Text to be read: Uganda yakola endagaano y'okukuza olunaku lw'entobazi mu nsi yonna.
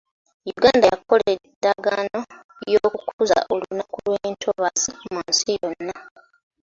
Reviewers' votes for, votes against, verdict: 2, 0, accepted